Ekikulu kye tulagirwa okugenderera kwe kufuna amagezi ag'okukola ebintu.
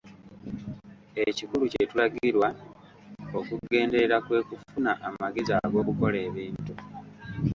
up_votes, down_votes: 1, 2